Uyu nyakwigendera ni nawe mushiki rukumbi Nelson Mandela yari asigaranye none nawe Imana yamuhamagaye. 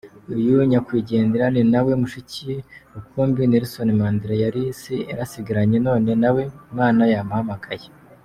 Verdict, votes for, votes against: rejected, 0, 2